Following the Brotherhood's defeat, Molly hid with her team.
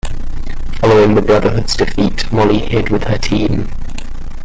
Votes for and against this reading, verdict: 2, 0, accepted